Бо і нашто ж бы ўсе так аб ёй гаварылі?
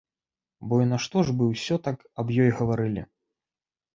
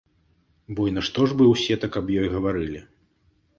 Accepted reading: second